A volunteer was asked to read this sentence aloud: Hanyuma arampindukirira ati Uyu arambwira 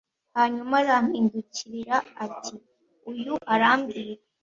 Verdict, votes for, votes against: accepted, 2, 0